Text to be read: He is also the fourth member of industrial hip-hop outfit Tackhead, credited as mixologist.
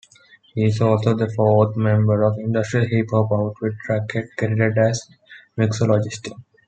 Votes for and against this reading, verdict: 0, 2, rejected